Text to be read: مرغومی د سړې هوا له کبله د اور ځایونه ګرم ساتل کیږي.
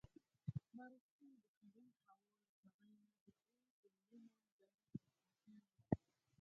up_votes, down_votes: 0, 4